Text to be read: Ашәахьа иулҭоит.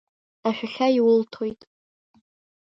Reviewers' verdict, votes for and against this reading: accepted, 2, 0